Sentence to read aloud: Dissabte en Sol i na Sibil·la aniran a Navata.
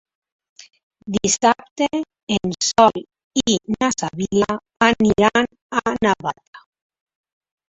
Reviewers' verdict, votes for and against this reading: rejected, 1, 3